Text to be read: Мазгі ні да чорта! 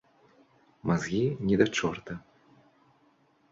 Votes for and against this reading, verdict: 3, 0, accepted